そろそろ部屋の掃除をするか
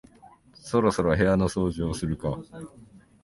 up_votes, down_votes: 2, 0